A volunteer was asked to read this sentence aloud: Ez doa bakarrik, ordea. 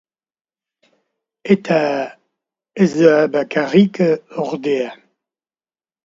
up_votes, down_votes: 0, 2